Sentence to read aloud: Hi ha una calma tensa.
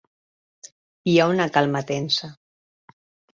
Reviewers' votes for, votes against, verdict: 3, 0, accepted